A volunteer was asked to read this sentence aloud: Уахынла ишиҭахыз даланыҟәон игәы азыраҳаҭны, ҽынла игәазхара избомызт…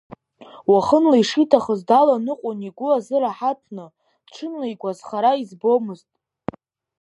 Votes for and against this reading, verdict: 2, 0, accepted